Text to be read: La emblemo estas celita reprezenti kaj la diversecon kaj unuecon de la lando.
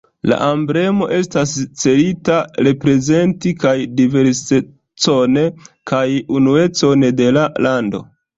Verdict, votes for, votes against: accepted, 2, 0